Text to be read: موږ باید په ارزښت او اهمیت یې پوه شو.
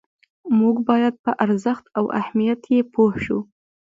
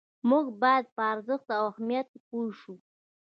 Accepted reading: first